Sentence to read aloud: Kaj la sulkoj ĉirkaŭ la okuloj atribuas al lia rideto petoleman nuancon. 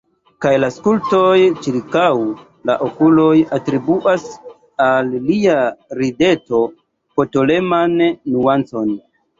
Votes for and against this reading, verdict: 1, 2, rejected